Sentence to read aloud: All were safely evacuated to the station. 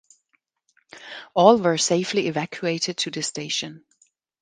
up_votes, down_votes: 2, 0